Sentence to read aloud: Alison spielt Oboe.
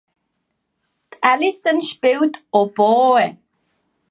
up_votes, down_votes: 2, 0